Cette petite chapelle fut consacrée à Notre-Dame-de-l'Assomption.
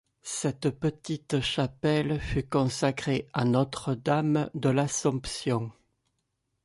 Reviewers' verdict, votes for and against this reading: rejected, 1, 2